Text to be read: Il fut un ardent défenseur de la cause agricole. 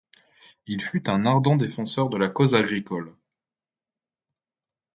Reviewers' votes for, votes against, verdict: 2, 0, accepted